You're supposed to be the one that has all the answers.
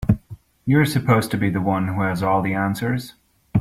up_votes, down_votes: 0, 2